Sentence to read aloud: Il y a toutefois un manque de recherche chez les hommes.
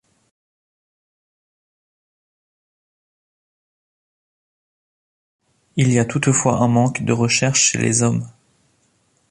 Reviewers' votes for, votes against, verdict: 0, 2, rejected